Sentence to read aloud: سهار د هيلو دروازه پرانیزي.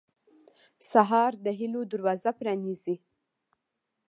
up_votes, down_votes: 1, 2